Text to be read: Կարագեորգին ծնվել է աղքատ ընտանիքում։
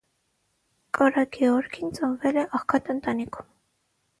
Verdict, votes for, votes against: rejected, 3, 3